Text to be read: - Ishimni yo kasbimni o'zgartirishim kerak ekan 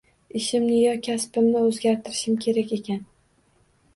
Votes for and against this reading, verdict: 1, 2, rejected